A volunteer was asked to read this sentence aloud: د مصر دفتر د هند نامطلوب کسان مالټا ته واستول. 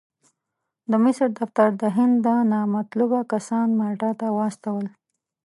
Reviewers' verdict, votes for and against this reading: accepted, 2, 0